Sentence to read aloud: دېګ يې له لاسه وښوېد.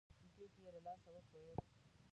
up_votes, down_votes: 0, 2